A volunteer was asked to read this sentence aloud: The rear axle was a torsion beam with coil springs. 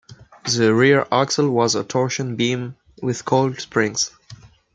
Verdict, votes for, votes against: rejected, 0, 2